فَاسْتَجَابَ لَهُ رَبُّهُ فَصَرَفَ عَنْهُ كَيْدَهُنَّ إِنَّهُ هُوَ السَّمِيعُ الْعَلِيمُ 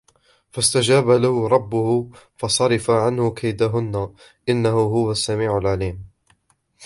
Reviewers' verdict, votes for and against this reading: rejected, 1, 2